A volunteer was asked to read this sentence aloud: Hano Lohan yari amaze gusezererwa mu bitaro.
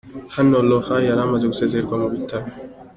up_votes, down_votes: 3, 1